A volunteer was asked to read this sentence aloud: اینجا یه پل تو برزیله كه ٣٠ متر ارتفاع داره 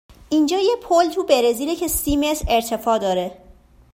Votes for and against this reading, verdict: 0, 2, rejected